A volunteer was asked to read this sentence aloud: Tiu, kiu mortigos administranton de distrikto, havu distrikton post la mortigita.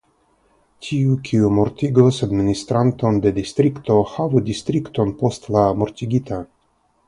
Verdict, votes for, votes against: accepted, 3, 0